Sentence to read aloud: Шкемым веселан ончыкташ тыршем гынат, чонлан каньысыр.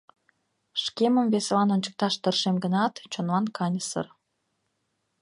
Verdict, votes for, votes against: accepted, 2, 0